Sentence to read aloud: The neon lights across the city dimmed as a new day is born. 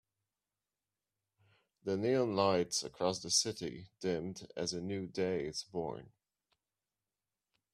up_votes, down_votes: 2, 0